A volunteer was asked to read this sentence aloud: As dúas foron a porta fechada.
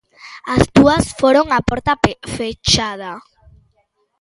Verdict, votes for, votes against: rejected, 0, 2